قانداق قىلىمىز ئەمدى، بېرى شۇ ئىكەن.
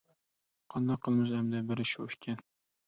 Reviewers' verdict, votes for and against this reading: rejected, 1, 2